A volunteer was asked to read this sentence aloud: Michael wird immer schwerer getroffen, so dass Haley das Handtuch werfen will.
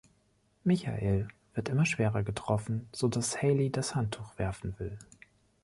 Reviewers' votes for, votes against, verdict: 2, 0, accepted